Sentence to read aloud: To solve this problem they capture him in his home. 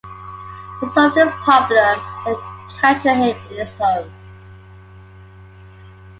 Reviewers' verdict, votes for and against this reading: rejected, 0, 2